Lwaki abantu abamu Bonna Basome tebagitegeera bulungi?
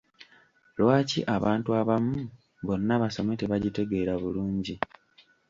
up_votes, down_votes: 0, 2